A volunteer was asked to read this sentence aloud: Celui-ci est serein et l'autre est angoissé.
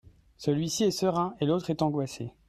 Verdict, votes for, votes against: accepted, 2, 0